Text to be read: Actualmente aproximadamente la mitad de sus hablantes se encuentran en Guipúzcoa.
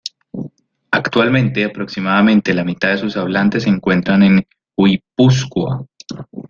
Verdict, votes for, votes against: rejected, 0, 2